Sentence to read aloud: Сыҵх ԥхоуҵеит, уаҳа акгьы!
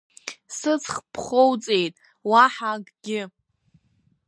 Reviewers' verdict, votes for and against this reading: accepted, 2, 0